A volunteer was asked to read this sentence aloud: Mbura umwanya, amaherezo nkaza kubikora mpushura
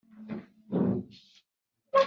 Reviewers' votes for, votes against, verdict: 1, 2, rejected